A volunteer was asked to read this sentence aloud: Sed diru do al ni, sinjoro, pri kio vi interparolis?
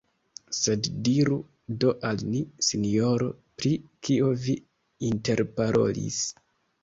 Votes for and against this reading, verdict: 2, 0, accepted